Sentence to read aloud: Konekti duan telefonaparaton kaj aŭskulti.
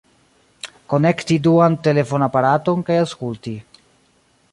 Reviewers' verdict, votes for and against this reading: accepted, 2, 1